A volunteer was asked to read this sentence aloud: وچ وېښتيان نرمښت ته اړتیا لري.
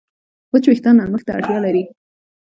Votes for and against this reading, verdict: 2, 1, accepted